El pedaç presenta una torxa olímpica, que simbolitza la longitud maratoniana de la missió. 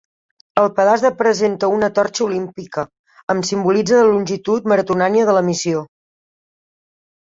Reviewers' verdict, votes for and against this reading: rejected, 0, 2